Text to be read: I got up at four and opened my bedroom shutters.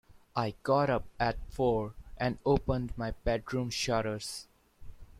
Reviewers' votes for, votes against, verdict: 2, 0, accepted